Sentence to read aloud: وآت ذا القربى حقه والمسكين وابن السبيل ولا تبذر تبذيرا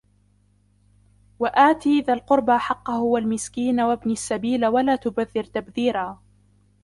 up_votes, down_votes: 0, 2